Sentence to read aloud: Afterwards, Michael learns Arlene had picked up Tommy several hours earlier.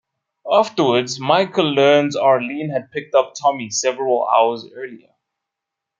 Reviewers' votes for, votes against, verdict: 2, 0, accepted